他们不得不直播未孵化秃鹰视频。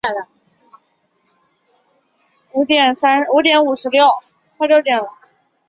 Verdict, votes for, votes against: rejected, 0, 2